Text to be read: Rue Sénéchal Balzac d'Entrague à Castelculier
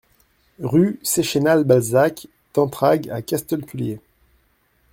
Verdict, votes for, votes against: rejected, 0, 2